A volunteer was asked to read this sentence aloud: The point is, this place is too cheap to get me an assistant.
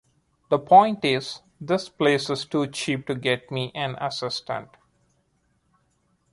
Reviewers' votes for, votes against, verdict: 2, 0, accepted